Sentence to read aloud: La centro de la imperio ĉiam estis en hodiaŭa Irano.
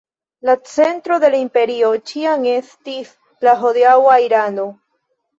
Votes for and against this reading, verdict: 1, 2, rejected